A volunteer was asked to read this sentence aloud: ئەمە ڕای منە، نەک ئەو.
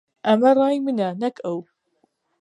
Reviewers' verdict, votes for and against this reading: accepted, 2, 0